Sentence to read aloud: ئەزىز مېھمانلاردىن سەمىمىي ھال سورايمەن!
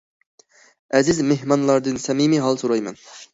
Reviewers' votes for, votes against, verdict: 2, 0, accepted